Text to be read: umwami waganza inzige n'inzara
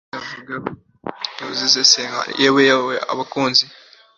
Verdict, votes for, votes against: rejected, 0, 2